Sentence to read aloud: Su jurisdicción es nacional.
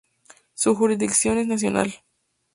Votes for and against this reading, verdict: 4, 0, accepted